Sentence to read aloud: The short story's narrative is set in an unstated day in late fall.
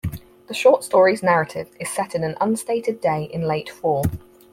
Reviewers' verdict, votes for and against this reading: accepted, 4, 0